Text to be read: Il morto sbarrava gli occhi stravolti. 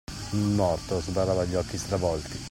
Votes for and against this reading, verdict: 2, 0, accepted